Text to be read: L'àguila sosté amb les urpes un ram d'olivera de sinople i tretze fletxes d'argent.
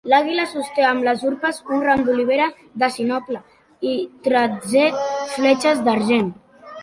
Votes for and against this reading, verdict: 0, 2, rejected